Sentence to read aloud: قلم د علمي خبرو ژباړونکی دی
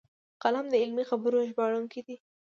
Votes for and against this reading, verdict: 2, 0, accepted